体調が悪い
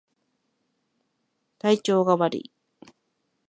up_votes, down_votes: 2, 0